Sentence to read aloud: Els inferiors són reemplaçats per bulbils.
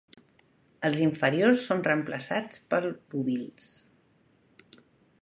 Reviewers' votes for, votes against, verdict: 0, 2, rejected